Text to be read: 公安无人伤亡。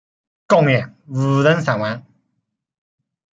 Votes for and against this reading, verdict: 1, 2, rejected